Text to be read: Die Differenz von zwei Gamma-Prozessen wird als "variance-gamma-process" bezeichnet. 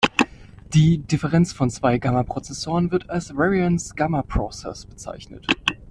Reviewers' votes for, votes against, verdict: 0, 2, rejected